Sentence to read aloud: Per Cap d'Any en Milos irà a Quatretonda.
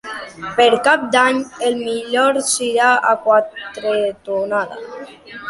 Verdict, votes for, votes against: rejected, 0, 2